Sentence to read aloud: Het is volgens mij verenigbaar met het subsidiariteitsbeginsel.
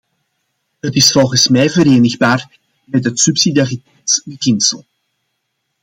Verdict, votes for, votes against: rejected, 1, 2